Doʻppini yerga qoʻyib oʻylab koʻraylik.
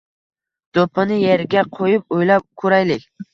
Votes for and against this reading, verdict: 2, 0, accepted